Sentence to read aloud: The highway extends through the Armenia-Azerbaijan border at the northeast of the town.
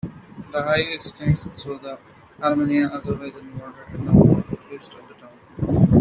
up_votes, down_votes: 0, 2